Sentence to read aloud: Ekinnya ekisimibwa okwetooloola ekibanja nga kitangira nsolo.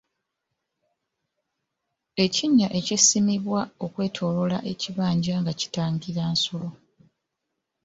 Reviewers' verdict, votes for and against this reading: accepted, 2, 1